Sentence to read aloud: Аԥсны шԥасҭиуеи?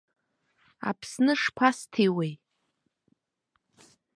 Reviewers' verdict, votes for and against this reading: accepted, 2, 0